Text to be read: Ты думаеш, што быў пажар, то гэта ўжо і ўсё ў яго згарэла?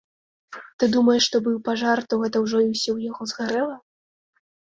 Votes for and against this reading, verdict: 2, 0, accepted